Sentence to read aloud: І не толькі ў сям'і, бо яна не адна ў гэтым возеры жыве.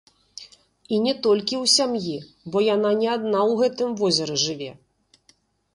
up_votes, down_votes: 1, 2